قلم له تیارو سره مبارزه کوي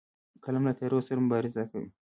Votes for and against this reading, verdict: 1, 2, rejected